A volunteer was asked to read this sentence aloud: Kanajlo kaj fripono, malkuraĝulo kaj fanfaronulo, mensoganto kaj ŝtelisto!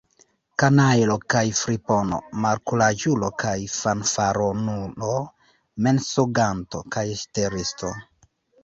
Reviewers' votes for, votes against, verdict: 1, 2, rejected